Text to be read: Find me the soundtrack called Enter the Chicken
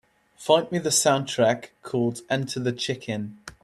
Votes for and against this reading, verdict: 2, 0, accepted